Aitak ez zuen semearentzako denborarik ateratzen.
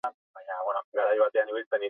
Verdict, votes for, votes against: rejected, 0, 4